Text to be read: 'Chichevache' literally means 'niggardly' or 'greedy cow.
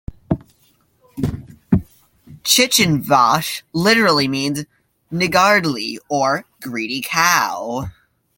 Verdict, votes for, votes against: rejected, 1, 2